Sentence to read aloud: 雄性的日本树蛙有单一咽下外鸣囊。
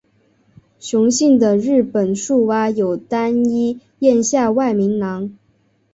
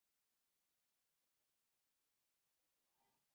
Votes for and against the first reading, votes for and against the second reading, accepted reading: 3, 2, 0, 4, first